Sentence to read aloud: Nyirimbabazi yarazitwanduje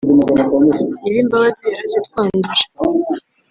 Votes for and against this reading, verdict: 1, 2, rejected